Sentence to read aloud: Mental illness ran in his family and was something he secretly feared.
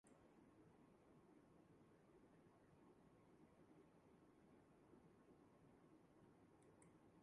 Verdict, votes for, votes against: rejected, 0, 2